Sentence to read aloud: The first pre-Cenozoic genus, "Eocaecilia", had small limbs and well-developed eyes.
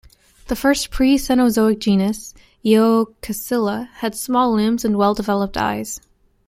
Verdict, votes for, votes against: accepted, 2, 1